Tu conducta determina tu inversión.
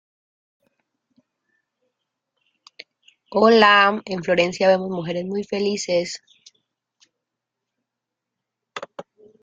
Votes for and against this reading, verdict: 0, 2, rejected